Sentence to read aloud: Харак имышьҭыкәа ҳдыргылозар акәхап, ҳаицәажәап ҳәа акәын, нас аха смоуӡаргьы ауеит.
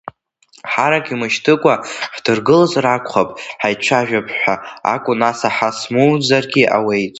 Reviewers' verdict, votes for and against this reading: rejected, 1, 2